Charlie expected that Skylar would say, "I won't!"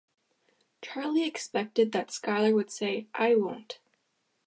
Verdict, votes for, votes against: accepted, 2, 0